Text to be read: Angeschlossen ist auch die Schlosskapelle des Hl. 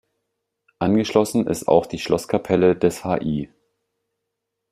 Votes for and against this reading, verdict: 0, 2, rejected